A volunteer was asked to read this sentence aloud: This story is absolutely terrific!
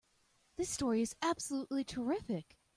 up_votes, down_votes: 2, 0